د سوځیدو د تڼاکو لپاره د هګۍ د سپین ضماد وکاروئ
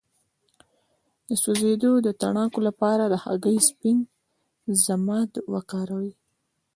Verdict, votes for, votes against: accepted, 2, 1